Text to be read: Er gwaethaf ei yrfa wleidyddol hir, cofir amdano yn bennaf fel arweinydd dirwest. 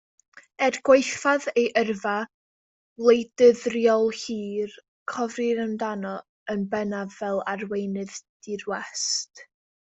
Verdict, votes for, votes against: rejected, 1, 2